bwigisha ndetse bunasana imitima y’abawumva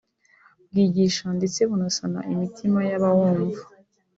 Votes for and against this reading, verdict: 2, 0, accepted